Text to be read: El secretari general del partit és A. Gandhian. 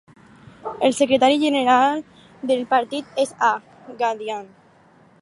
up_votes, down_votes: 4, 0